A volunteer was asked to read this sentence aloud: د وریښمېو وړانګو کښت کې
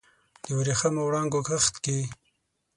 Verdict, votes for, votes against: accepted, 6, 0